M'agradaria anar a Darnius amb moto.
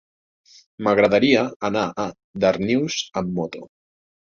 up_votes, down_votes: 3, 0